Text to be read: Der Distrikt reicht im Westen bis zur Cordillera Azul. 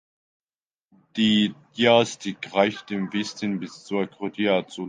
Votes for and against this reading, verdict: 0, 2, rejected